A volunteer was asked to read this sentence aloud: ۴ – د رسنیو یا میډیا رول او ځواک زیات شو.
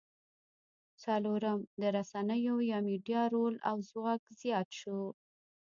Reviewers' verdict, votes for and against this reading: rejected, 0, 2